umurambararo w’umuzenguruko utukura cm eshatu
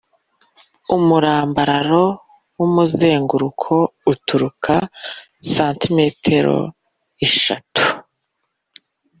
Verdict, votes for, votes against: rejected, 0, 2